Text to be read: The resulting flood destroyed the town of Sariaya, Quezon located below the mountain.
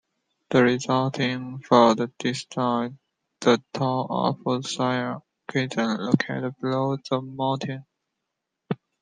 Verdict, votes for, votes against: accepted, 2, 1